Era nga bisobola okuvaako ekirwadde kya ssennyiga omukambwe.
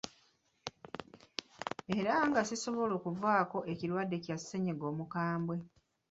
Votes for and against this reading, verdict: 0, 3, rejected